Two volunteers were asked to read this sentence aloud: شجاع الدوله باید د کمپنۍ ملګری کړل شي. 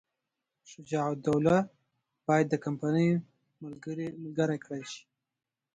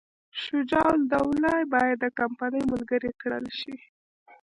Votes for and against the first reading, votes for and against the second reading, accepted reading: 0, 2, 2, 0, second